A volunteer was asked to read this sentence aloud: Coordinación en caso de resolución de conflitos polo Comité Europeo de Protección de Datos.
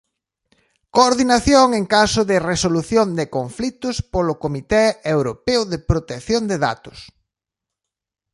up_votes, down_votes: 2, 0